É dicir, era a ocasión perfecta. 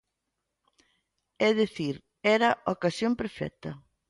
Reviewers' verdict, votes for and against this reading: accepted, 2, 0